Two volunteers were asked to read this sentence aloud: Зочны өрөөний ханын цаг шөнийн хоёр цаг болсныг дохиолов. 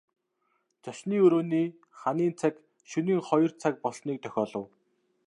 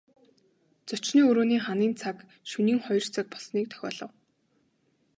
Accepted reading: first